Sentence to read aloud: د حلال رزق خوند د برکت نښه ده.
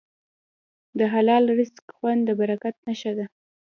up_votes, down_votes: 2, 0